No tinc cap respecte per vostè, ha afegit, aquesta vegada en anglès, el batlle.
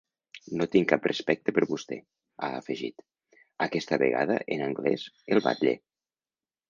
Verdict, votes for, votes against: accepted, 3, 0